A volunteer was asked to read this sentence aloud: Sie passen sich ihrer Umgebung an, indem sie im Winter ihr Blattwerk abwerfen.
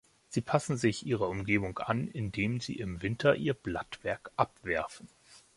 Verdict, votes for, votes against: accepted, 2, 0